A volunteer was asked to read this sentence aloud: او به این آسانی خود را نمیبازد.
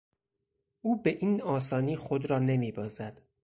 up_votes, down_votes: 4, 0